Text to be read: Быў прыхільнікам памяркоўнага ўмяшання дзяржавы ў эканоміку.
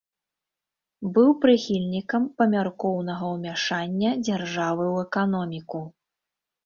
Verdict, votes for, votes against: accepted, 2, 0